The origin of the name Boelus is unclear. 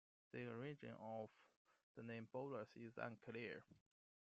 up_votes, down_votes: 2, 1